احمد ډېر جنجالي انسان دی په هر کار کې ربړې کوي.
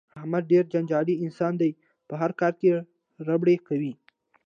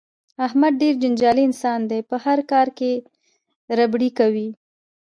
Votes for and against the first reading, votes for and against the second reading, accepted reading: 2, 0, 0, 2, first